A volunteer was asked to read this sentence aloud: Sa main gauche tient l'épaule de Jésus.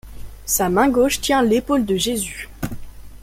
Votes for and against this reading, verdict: 2, 0, accepted